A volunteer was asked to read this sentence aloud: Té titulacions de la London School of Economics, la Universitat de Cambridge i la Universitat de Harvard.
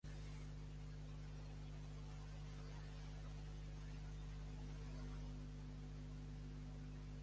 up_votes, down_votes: 1, 3